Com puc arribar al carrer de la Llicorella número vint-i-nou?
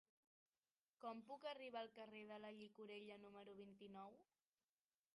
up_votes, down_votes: 0, 2